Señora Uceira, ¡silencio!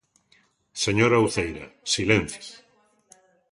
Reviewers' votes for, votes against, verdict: 2, 0, accepted